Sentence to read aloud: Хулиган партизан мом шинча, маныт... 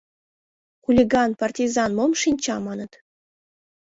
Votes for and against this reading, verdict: 2, 0, accepted